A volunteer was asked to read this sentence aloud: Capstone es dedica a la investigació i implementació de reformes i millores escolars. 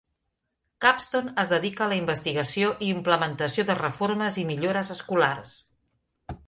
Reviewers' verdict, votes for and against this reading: accepted, 2, 0